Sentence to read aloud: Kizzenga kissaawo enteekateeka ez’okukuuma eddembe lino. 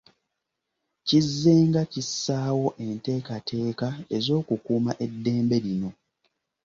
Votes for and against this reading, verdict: 2, 0, accepted